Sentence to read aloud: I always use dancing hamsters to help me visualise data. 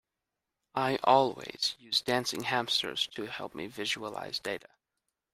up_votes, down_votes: 2, 0